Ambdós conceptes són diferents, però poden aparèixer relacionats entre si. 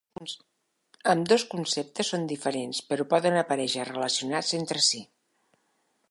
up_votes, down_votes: 3, 0